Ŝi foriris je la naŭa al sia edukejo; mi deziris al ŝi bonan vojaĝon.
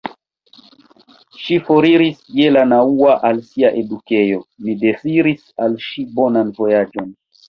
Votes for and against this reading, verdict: 2, 1, accepted